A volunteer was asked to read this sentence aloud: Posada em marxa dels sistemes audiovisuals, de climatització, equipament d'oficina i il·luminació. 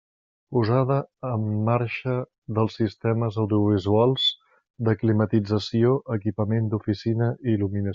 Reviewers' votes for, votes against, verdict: 0, 2, rejected